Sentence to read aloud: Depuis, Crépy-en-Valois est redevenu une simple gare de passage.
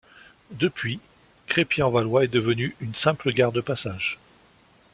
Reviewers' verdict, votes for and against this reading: rejected, 1, 2